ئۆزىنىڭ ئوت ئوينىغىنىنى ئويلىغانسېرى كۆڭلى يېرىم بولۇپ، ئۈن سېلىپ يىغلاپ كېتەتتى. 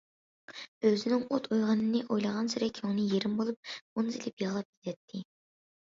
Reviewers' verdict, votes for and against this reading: accepted, 2, 1